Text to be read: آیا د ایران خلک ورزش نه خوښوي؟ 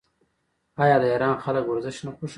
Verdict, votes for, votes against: rejected, 1, 2